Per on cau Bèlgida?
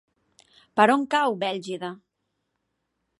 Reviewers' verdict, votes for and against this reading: accepted, 4, 0